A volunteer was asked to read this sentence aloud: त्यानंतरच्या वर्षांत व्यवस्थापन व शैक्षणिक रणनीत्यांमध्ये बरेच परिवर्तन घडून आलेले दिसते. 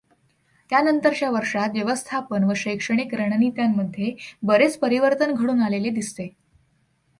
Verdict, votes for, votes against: accepted, 2, 0